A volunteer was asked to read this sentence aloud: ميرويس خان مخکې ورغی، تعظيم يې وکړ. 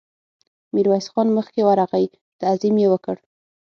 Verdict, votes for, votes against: accepted, 6, 0